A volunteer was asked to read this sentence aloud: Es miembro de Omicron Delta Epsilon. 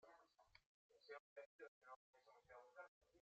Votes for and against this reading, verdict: 0, 2, rejected